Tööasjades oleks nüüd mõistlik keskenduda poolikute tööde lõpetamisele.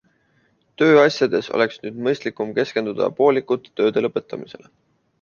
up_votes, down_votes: 2, 1